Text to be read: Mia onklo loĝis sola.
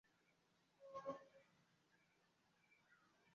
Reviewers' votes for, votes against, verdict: 0, 2, rejected